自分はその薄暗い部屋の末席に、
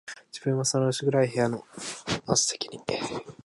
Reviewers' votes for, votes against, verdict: 4, 1, accepted